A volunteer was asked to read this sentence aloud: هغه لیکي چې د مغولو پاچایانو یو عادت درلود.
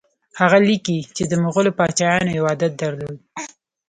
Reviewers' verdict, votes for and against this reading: accepted, 2, 0